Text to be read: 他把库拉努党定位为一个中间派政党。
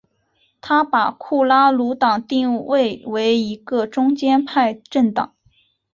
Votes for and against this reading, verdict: 2, 0, accepted